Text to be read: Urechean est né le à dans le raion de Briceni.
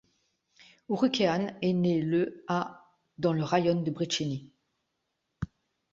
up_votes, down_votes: 3, 0